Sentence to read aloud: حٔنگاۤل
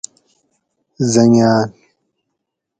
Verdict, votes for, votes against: accepted, 4, 0